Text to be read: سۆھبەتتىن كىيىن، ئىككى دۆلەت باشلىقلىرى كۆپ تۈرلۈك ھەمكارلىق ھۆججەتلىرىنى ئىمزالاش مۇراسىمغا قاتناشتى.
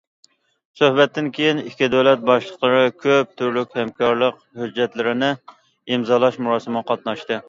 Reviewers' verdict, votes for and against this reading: accepted, 2, 0